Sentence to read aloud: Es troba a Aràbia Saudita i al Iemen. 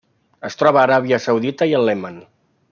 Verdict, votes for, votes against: rejected, 1, 2